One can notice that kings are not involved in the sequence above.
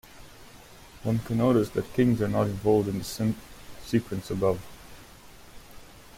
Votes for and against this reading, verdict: 1, 2, rejected